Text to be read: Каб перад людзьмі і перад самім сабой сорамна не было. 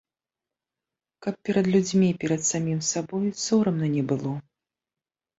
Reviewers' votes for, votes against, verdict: 2, 0, accepted